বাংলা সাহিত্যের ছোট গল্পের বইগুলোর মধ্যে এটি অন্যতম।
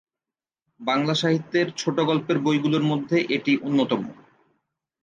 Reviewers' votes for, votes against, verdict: 3, 0, accepted